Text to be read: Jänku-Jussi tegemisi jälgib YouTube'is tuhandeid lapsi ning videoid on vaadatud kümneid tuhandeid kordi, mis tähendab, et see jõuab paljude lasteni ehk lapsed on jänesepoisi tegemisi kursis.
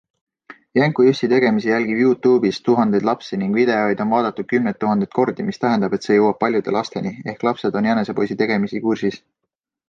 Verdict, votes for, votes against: accepted, 2, 0